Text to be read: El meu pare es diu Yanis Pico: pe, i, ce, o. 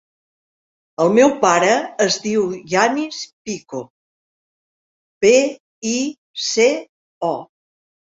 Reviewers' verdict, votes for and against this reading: accepted, 5, 1